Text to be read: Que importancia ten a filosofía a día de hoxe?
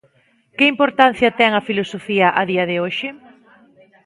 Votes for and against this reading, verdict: 2, 0, accepted